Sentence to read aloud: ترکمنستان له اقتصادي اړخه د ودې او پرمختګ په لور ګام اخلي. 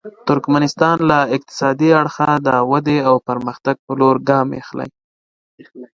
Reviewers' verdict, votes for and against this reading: accepted, 2, 0